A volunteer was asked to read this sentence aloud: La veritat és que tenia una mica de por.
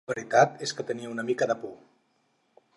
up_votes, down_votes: 0, 6